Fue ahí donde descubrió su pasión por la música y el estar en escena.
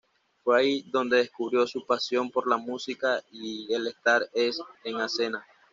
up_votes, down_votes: 1, 2